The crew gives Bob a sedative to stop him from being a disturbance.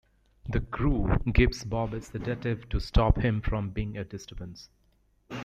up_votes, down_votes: 0, 2